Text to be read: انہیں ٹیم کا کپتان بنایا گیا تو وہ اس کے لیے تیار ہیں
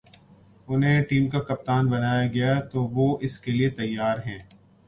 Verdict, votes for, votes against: accepted, 2, 0